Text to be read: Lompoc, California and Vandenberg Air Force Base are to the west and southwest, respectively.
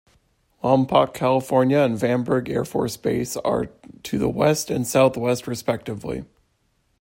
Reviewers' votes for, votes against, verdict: 2, 0, accepted